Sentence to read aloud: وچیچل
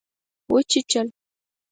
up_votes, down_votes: 4, 0